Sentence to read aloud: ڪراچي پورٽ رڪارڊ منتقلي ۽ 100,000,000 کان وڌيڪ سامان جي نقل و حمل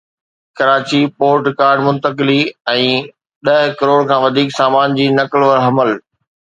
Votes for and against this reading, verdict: 0, 2, rejected